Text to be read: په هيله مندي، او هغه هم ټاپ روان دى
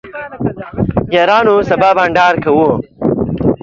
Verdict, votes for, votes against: rejected, 0, 2